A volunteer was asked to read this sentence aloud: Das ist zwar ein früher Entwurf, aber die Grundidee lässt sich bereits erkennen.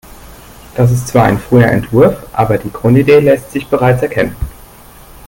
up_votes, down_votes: 2, 3